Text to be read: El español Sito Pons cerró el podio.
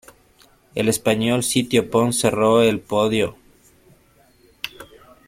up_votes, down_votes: 1, 3